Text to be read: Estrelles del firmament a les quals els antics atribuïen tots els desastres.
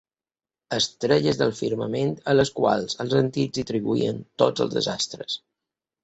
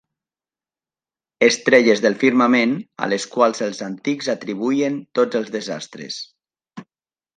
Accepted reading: second